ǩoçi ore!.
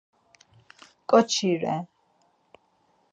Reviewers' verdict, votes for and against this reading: rejected, 2, 6